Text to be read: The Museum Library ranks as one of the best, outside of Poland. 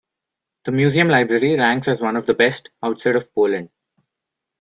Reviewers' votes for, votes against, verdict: 1, 2, rejected